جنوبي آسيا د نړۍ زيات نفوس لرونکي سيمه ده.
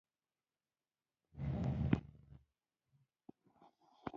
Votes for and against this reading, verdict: 0, 2, rejected